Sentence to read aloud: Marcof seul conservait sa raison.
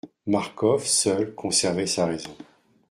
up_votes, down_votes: 2, 0